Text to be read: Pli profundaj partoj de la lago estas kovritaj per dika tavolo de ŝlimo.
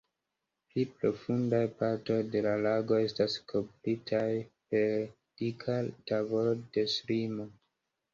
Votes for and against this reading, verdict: 2, 0, accepted